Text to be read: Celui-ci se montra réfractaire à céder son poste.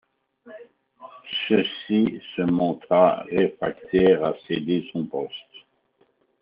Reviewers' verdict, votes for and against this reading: rejected, 0, 2